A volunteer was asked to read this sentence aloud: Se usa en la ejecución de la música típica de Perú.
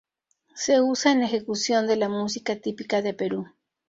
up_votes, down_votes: 4, 0